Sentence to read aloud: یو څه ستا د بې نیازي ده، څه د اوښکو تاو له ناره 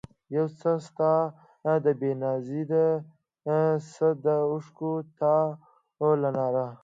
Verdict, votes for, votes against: rejected, 0, 2